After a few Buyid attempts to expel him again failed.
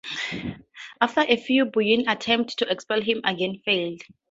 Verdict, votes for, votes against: accepted, 4, 0